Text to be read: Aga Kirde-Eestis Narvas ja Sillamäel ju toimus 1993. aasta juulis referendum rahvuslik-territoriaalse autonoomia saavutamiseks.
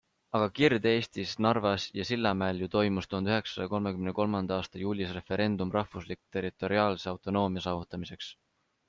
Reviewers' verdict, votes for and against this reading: rejected, 0, 2